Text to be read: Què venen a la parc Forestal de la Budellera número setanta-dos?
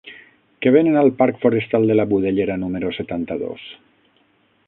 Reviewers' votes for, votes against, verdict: 3, 6, rejected